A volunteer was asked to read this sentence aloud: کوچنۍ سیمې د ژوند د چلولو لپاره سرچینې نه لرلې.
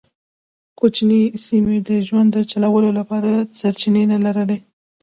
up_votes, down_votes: 0, 2